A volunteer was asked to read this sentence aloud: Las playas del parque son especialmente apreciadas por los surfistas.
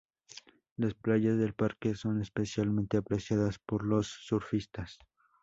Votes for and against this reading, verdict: 2, 0, accepted